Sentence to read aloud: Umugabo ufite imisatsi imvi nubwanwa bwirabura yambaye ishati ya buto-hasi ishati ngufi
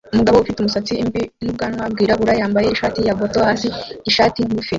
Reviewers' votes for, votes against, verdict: 0, 2, rejected